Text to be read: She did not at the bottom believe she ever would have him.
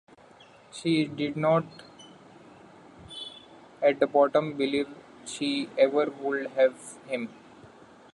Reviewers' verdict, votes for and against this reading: accepted, 2, 1